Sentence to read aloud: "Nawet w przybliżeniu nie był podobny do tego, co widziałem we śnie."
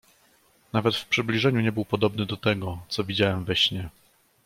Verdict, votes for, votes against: accepted, 2, 0